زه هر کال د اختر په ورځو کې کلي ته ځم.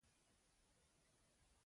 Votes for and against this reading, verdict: 0, 2, rejected